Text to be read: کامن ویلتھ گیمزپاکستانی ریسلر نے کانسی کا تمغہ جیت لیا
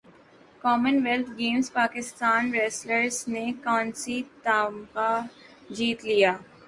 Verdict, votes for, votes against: accepted, 2, 1